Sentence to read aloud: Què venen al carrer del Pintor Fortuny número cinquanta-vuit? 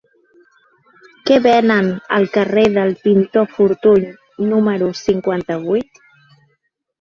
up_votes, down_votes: 2, 0